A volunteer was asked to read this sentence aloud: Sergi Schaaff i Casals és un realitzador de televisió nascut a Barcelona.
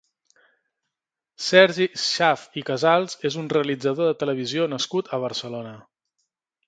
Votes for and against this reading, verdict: 2, 0, accepted